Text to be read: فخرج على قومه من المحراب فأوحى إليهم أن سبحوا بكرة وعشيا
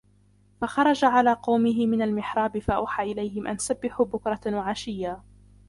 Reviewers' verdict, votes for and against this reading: accepted, 2, 0